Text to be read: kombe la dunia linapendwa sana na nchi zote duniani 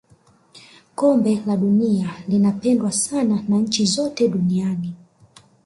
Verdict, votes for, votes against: accepted, 6, 0